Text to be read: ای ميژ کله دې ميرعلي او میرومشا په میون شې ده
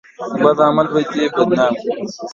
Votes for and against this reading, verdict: 0, 2, rejected